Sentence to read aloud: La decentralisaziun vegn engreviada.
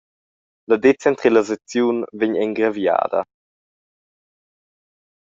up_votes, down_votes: 1, 2